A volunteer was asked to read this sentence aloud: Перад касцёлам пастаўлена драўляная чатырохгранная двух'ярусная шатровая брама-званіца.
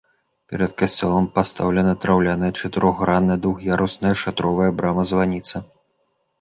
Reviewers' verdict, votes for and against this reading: accepted, 2, 0